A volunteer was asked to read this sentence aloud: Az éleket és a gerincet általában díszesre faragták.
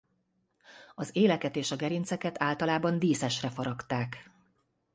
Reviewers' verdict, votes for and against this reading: rejected, 0, 2